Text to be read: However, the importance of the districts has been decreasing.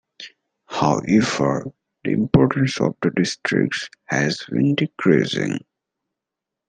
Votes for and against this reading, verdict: 1, 2, rejected